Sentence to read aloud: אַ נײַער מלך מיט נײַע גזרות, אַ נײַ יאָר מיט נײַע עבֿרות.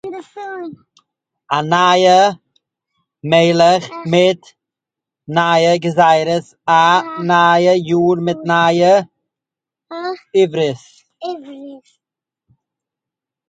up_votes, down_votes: 0, 2